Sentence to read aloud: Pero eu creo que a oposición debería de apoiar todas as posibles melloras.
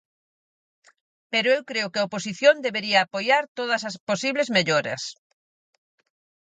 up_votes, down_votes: 2, 4